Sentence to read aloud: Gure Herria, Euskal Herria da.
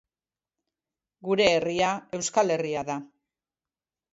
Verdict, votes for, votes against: accepted, 3, 0